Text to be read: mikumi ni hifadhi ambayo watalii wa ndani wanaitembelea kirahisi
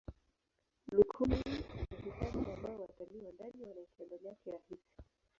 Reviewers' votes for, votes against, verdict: 0, 3, rejected